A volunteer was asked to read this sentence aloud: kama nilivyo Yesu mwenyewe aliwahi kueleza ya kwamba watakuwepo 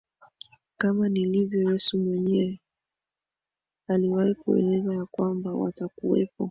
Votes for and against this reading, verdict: 2, 0, accepted